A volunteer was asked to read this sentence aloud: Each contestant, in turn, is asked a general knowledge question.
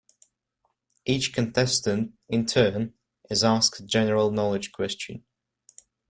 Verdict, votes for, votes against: rejected, 1, 2